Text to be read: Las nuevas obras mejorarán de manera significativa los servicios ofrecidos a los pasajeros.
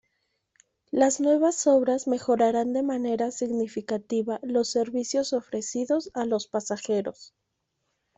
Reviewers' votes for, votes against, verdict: 2, 0, accepted